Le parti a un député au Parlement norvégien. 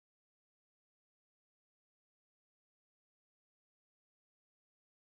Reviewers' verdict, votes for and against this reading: rejected, 1, 2